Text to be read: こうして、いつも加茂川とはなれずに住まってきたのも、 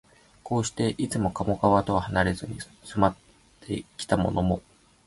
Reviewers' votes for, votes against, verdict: 0, 2, rejected